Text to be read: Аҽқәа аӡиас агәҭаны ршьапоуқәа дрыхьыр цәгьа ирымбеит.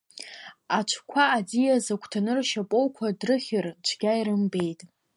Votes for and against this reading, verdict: 2, 0, accepted